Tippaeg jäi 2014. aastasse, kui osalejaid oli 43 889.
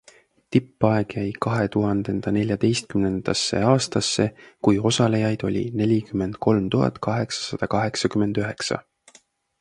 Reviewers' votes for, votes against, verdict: 0, 2, rejected